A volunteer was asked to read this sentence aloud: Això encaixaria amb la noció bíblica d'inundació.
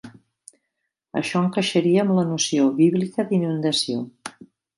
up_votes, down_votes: 3, 0